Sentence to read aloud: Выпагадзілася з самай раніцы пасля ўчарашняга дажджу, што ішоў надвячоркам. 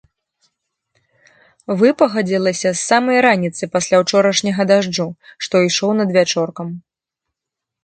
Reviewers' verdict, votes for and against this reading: rejected, 1, 2